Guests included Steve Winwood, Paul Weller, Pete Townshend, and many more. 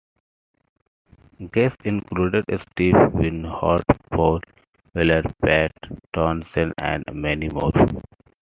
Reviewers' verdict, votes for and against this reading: rejected, 0, 2